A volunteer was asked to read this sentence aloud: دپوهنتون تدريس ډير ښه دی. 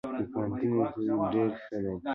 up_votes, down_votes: 2, 0